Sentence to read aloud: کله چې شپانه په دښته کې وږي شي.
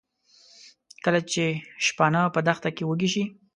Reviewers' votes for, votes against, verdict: 3, 0, accepted